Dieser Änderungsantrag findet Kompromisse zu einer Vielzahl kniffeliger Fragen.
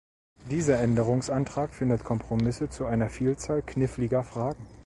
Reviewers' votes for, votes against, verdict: 2, 0, accepted